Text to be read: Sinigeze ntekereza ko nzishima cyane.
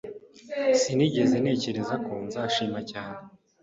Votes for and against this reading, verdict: 0, 2, rejected